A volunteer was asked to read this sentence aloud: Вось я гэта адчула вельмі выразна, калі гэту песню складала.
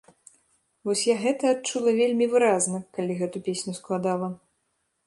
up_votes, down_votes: 2, 0